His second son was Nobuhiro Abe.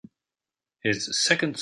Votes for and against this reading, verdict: 0, 2, rejected